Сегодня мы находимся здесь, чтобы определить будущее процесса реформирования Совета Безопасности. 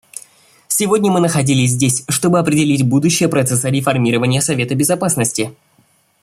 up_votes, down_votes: 0, 2